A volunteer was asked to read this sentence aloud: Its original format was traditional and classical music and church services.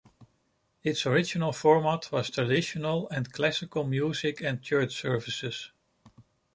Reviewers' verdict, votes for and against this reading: accepted, 2, 0